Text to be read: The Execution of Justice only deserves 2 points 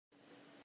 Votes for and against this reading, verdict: 0, 2, rejected